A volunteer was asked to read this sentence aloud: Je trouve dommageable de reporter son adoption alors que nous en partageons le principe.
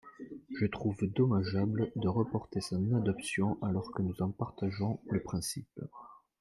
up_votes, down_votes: 1, 2